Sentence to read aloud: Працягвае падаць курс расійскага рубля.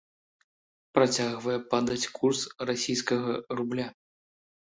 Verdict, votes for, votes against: accepted, 2, 0